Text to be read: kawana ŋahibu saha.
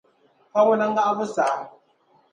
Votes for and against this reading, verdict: 2, 0, accepted